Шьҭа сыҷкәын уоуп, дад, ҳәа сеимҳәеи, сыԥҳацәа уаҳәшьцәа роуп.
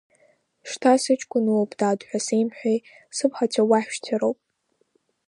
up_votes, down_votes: 1, 2